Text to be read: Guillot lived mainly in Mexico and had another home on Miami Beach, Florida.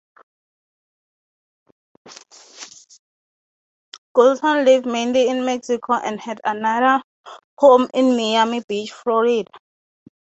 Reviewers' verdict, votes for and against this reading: rejected, 0, 3